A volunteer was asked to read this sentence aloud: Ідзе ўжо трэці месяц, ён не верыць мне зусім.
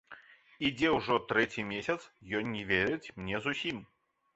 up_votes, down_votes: 2, 0